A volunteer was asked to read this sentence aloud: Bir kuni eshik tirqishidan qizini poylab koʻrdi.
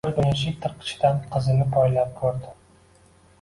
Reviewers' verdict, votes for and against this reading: rejected, 1, 2